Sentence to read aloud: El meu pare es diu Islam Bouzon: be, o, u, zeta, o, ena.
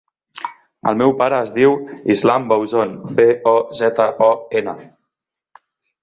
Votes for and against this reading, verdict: 0, 2, rejected